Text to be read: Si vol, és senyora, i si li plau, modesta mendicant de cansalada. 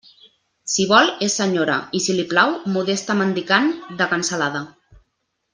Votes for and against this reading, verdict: 2, 0, accepted